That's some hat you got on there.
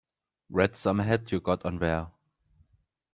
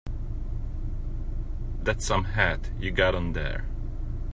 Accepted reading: second